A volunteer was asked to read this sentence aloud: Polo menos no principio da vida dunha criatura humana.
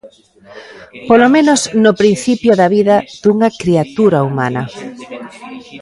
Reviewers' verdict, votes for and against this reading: rejected, 1, 2